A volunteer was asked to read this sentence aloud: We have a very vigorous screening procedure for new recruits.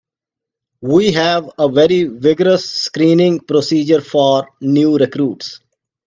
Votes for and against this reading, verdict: 2, 0, accepted